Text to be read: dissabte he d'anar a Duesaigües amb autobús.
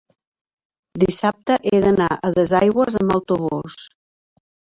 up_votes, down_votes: 0, 2